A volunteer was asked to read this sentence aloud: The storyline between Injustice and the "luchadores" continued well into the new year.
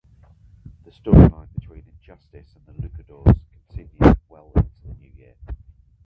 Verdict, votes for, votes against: rejected, 2, 4